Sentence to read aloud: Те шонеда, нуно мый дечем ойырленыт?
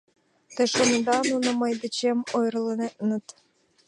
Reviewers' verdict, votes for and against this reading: rejected, 0, 2